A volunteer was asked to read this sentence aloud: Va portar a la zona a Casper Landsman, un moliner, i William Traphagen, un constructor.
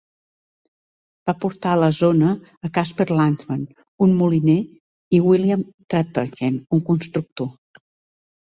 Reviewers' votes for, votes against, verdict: 2, 0, accepted